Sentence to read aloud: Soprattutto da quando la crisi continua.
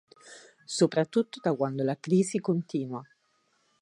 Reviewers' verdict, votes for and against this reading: accepted, 4, 0